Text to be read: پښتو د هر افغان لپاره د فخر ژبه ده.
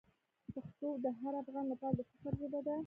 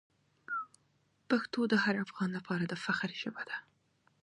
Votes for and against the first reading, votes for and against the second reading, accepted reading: 1, 2, 2, 1, second